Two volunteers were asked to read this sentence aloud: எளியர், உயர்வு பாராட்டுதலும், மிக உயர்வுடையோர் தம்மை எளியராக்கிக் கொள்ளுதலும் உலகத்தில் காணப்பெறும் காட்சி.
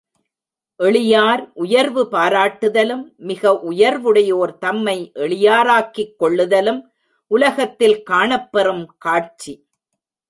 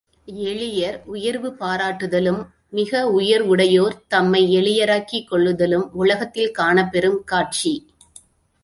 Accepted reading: second